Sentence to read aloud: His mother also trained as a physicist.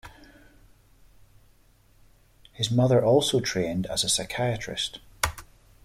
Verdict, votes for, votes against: rejected, 0, 2